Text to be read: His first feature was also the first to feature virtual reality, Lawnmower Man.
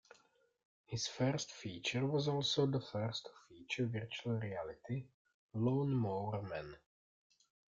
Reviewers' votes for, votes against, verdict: 1, 2, rejected